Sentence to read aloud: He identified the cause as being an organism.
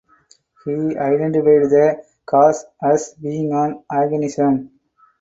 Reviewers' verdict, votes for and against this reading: rejected, 2, 4